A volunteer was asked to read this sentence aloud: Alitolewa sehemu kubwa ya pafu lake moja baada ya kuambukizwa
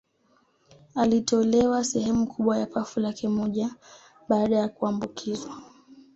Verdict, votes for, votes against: accepted, 2, 0